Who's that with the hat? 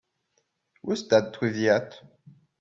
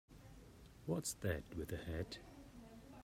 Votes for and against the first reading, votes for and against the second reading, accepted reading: 2, 0, 0, 2, first